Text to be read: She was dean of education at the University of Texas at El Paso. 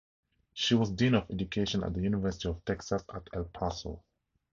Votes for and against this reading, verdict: 2, 0, accepted